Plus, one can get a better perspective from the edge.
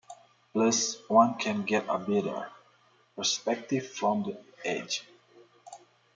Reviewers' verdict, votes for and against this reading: accepted, 2, 1